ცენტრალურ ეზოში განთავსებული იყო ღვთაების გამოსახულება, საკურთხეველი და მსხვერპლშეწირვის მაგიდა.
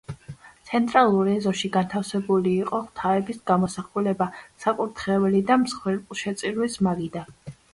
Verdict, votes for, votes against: accepted, 2, 0